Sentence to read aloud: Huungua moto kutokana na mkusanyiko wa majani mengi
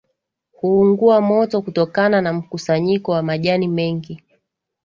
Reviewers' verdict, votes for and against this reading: accepted, 3, 0